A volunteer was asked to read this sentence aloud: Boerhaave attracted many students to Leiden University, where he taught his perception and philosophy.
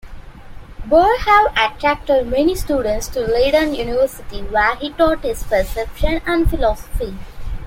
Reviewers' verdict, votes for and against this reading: accepted, 2, 0